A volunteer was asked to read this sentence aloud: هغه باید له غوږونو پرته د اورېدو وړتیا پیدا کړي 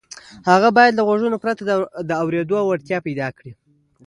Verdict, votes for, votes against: accepted, 2, 0